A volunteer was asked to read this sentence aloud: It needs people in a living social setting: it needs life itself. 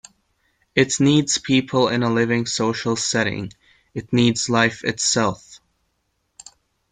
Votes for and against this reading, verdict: 0, 2, rejected